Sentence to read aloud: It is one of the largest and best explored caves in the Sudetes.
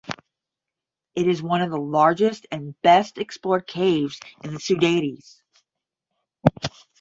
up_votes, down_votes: 10, 0